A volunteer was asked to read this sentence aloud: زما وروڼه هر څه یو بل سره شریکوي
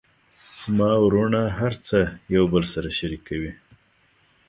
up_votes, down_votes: 2, 0